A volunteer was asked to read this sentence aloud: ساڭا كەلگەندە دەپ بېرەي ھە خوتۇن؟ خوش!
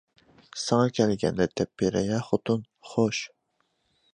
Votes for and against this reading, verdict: 2, 0, accepted